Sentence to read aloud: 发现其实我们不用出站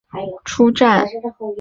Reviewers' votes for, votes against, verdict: 1, 2, rejected